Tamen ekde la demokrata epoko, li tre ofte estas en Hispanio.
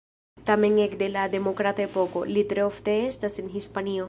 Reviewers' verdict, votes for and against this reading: rejected, 1, 2